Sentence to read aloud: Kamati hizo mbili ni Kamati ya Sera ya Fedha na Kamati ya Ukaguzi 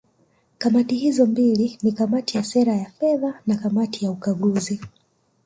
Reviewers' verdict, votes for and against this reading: rejected, 0, 2